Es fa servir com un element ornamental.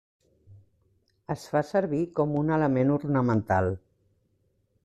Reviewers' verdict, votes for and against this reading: accepted, 3, 0